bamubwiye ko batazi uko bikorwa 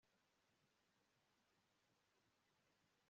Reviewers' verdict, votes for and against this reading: rejected, 0, 2